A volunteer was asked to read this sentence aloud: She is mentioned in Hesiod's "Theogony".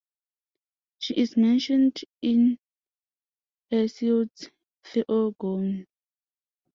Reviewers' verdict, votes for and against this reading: rejected, 0, 2